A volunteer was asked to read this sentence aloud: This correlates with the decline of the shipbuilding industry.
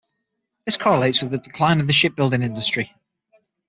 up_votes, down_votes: 6, 0